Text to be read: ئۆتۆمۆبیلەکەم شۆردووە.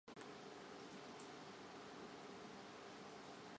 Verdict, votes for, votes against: rejected, 0, 2